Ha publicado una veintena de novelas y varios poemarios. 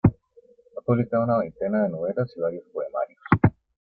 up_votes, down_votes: 2, 0